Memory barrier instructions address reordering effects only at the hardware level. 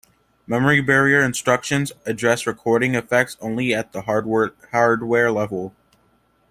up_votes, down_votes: 1, 2